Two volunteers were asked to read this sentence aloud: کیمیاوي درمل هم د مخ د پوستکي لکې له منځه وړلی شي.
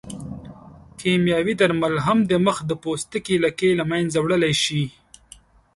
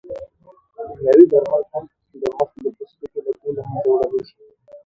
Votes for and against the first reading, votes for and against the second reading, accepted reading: 2, 0, 0, 2, first